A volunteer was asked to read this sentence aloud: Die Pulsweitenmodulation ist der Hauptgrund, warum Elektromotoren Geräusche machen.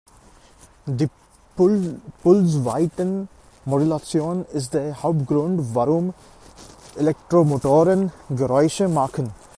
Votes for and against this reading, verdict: 1, 2, rejected